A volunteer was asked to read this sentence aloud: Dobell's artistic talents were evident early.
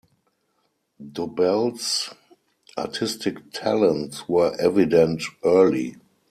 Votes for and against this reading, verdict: 4, 2, accepted